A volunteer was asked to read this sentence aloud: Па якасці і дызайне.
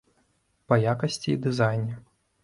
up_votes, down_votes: 2, 0